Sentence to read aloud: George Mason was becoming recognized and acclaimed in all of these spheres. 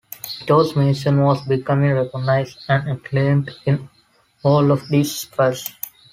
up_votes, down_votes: 0, 2